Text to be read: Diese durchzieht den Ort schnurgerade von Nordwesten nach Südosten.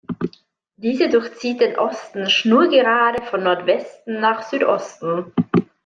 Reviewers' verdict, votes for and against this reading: rejected, 1, 2